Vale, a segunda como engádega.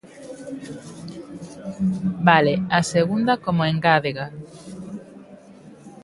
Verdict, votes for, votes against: accepted, 2, 0